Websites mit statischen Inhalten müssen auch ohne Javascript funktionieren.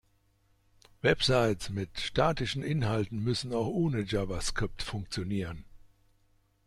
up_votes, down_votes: 2, 0